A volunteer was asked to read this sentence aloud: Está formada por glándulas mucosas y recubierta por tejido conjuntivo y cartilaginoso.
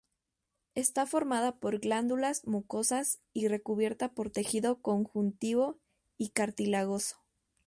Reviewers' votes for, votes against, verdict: 0, 2, rejected